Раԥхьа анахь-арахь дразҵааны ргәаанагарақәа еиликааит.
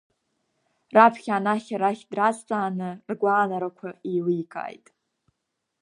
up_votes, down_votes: 1, 2